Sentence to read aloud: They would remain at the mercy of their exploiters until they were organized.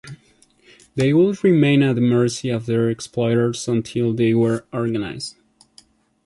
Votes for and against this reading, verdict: 2, 0, accepted